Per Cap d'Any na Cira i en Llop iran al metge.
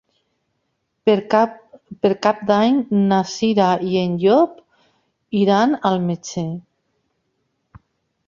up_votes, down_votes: 2, 3